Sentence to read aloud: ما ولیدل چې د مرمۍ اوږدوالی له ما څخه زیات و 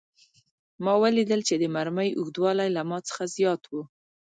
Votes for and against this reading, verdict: 1, 2, rejected